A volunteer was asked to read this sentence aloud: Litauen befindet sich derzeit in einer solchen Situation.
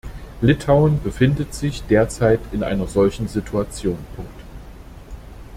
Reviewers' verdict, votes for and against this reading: rejected, 0, 2